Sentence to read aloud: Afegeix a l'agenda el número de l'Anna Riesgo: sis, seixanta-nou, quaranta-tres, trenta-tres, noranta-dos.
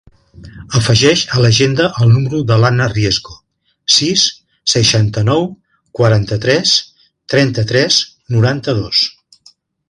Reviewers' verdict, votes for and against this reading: accepted, 2, 0